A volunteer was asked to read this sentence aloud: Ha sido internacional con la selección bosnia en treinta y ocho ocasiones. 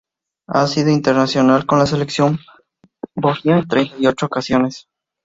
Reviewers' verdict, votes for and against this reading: rejected, 2, 2